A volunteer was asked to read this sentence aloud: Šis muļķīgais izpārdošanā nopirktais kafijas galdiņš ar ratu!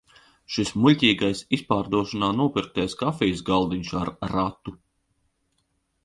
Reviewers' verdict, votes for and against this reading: rejected, 1, 2